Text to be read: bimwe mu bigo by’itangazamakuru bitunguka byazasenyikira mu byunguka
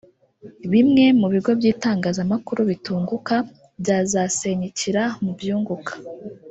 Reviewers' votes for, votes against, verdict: 1, 2, rejected